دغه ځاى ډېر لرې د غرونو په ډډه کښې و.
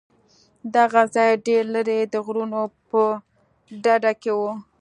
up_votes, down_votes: 2, 0